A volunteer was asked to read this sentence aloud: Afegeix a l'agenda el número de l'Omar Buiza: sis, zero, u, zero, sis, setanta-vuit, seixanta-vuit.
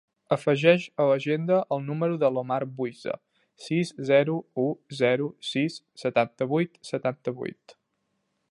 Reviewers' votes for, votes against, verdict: 0, 2, rejected